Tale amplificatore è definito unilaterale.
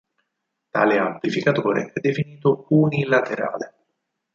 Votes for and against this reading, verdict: 2, 4, rejected